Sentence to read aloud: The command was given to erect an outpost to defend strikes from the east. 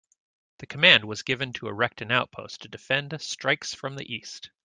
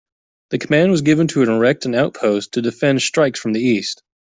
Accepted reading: first